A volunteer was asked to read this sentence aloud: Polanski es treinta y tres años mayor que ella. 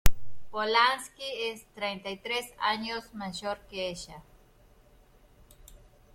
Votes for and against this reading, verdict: 2, 0, accepted